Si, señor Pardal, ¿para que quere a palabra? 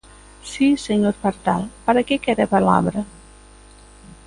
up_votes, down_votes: 2, 0